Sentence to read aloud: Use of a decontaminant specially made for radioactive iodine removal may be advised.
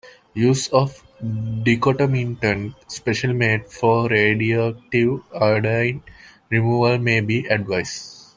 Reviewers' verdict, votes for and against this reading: rejected, 2, 3